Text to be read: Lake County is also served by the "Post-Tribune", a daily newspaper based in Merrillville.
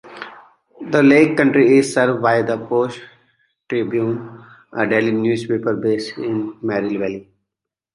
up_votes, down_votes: 1, 2